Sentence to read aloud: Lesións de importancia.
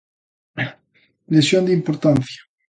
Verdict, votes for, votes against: rejected, 0, 2